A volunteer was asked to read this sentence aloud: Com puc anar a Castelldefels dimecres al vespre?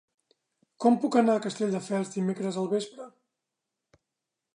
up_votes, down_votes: 3, 0